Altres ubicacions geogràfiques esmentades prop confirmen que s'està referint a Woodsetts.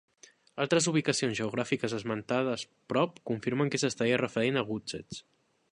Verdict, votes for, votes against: rejected, 1, 2